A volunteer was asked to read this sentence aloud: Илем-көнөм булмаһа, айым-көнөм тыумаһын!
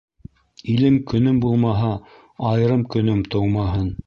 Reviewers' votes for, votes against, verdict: 0, 2, rejected